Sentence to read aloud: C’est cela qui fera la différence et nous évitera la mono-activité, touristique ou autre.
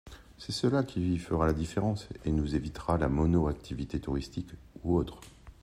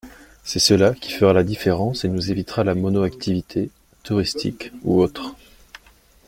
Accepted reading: second